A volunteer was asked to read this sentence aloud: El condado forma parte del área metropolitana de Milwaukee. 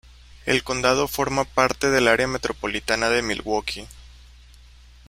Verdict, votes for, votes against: accepted, 2, 1